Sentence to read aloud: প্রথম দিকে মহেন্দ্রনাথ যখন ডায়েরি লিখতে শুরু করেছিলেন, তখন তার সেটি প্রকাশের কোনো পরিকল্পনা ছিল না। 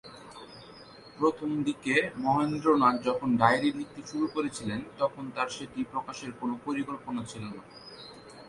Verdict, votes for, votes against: accepted, 2, 0